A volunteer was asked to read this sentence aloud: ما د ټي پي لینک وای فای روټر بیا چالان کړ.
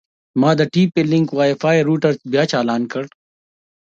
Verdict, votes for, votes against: accepted, 2, 0